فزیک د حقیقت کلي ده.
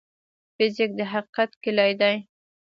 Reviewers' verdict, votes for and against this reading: rejected, 1, 2